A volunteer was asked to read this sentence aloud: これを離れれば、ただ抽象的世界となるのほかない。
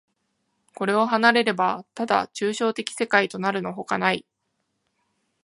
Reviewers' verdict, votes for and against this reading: accepted, 2, 0